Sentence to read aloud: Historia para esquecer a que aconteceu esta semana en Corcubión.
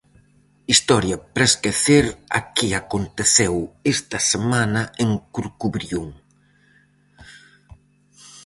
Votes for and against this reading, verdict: 0, 4, rejected